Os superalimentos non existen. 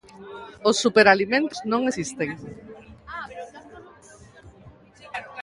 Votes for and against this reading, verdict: 2, 0, accepted